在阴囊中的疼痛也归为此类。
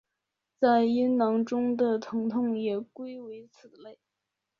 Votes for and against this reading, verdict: 2, 3, rejected